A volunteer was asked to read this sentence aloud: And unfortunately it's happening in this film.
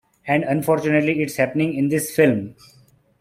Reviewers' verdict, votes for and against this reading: accepted, 2, 0